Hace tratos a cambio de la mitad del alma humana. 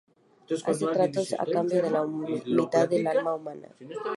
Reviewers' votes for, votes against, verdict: 0, 2, rejected